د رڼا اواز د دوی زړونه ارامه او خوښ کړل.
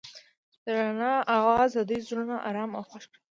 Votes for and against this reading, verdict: 2, 0, accepted